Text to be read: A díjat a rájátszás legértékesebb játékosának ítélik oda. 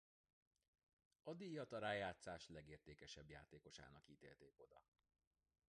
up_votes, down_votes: 0, 2